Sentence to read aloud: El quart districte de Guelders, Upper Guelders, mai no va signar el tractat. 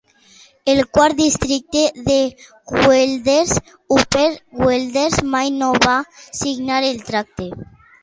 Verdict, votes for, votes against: rejected, 0, 2